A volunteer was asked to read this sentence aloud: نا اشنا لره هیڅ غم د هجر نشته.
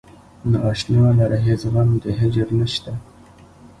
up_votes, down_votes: 2, 0